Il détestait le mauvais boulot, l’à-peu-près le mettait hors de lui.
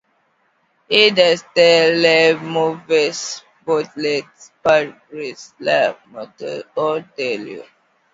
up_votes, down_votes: 0, 2